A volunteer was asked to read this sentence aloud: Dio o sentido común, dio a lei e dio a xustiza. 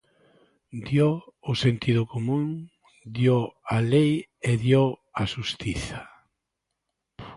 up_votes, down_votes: 2, 0